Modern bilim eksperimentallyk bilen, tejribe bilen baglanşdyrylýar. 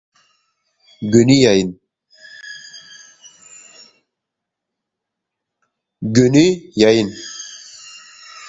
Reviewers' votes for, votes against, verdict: 0, 2, rejected